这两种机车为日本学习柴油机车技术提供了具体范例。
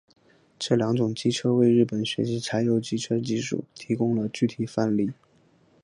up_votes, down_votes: 2, 0